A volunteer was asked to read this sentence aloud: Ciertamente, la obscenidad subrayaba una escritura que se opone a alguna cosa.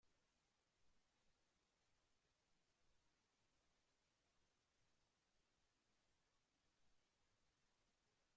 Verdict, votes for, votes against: rejected, 0, 2